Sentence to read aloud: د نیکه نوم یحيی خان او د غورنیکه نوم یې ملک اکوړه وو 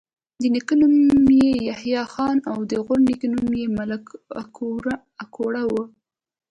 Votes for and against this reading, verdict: 1, 2, rejected